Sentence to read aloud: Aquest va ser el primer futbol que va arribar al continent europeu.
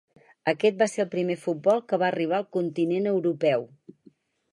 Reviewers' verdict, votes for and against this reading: accepted, 4, 0